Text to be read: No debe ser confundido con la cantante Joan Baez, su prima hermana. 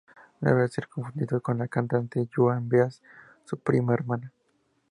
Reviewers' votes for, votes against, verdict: 0, 2, rejected